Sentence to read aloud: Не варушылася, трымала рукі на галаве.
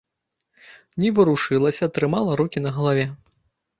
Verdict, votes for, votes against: accepted, 2, 0